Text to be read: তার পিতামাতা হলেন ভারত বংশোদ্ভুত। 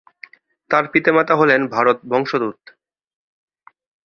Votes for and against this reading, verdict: 1, 7, rejected